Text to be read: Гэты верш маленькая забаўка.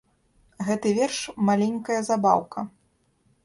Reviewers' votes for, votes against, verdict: 2, 0, accepted